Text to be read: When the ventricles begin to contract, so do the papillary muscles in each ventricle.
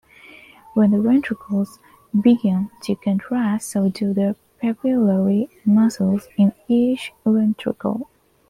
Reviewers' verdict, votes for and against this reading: accepted, 2, 1